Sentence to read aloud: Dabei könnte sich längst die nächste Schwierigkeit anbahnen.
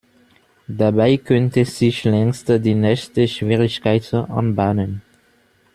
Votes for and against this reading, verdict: 1, 2, rejected